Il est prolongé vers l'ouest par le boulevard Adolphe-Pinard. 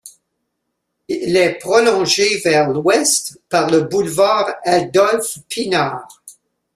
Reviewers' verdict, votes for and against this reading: rejected, 0, 2